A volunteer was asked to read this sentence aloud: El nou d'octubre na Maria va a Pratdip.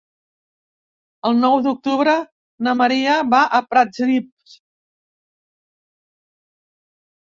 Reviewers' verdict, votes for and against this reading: rejected, 1, 2